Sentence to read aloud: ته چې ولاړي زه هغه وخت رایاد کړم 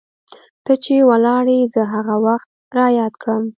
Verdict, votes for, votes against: accepted, 2, 1